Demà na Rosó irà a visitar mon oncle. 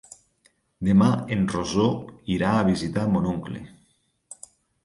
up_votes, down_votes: 0, 2